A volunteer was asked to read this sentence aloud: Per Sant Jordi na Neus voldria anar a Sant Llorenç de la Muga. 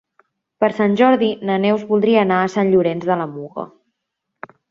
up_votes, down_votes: 3, 0